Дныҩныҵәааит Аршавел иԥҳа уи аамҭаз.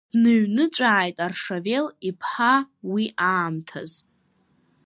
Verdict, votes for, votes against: accepted, 2, 1